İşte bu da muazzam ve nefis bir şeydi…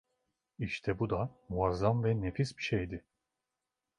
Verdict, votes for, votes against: accepted, 2, 0